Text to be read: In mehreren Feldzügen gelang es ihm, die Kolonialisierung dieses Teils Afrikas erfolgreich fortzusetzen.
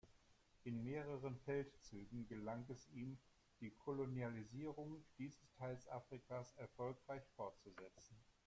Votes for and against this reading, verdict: 2, 1, accepted